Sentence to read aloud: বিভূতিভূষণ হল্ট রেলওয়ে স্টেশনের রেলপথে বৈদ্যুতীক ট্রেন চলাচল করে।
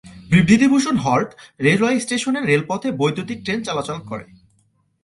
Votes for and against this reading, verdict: 0, 2, rejected